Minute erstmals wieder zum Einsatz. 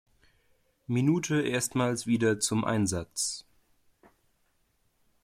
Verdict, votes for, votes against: accepted, 2, 0